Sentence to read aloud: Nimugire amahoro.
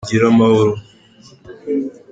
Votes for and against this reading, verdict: 2, 0, accepted